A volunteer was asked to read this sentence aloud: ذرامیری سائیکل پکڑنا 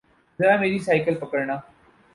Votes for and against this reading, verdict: 2, 2, rejected